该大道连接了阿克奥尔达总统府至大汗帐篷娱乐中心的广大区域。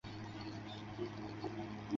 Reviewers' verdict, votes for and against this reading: rejected, 0, 2